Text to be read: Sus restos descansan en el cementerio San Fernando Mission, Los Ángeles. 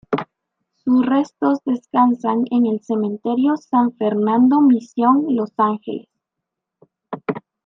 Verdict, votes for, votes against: rejected, 0, 2